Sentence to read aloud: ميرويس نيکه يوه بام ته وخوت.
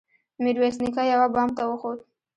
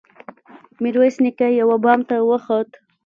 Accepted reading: first